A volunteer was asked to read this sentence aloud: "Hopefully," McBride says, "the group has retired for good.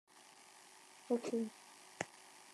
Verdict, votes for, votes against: rejected, 0, 2